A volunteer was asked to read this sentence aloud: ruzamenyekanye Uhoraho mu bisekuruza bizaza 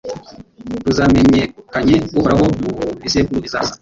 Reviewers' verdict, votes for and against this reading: rejected, 1, 2